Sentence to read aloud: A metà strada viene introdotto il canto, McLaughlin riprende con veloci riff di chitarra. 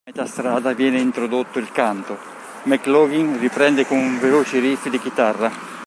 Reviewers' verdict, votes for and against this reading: rejected, 0, 2